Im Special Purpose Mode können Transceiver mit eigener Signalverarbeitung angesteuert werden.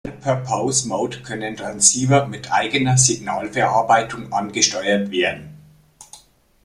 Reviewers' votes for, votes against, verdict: 1, 2, rejected